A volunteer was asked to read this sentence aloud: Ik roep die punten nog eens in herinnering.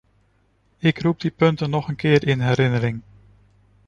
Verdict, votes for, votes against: rejected, 0, 2